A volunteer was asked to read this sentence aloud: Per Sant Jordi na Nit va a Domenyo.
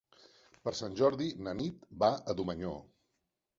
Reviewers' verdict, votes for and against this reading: rejected, 1, 2